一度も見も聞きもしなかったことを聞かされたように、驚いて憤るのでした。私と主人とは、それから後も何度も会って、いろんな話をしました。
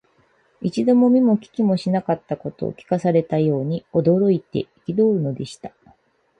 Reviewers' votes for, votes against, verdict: 0, 4, rejected